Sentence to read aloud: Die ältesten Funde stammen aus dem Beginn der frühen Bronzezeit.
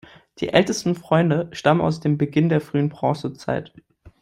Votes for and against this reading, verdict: 1, 2, rejected